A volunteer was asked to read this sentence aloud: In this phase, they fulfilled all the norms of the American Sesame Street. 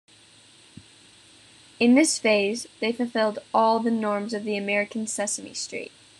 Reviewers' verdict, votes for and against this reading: accepted, 2, 0